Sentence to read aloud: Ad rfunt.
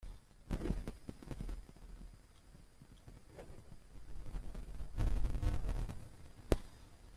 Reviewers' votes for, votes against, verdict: 0, 2, rejected